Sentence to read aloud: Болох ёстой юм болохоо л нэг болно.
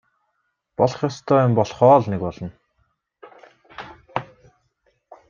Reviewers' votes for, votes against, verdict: 1, 2, rejected